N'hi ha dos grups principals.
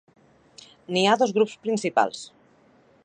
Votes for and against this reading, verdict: 2, 0, accepted